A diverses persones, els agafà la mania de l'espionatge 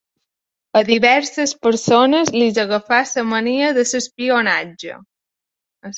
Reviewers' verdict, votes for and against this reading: rejected, 1, 2